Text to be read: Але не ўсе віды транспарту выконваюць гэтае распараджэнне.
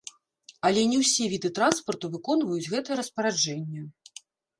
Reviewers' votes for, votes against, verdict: 1, 2, rejected